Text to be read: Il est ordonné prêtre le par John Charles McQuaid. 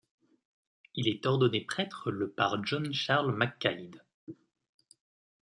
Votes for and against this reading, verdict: 1, 2, rejected